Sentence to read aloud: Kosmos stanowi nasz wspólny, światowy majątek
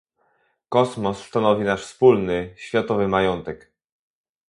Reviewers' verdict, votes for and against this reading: accepted, 2, 0